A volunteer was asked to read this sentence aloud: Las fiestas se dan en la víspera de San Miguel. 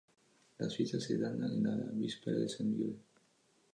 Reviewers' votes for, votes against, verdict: 2, 0, accepted